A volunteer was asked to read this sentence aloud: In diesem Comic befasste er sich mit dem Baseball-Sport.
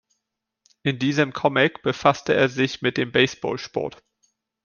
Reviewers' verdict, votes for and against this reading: accepted, 2, 0